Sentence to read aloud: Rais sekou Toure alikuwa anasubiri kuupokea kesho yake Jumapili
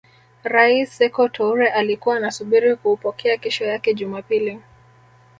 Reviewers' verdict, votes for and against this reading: rejected, 1, 2